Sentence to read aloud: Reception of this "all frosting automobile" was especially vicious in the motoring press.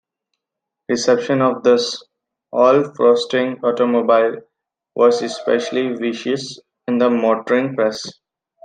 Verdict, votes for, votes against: accepted, 2, 1